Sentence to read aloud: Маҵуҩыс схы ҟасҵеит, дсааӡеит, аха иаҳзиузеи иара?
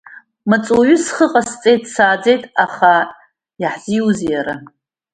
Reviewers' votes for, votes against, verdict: 0, 2, rejected